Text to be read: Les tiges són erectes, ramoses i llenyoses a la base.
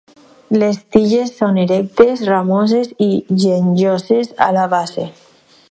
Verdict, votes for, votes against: rejected, 2, 4